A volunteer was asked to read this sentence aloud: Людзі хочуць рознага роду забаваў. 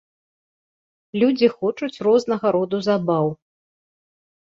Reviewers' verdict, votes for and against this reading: rejected, 0, 2